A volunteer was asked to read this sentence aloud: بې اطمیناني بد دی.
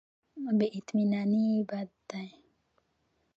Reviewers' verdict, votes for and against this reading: accepted, 2, 0